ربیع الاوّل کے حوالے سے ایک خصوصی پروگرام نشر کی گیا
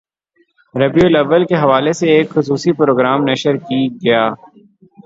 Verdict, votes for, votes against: rejected, 3, 3